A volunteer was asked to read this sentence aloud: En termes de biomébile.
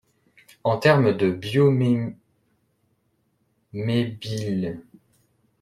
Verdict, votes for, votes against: rejected, 1, 2